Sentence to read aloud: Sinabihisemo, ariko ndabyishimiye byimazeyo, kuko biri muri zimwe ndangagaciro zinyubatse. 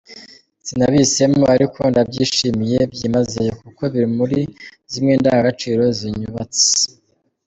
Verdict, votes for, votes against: accepted, 2, 1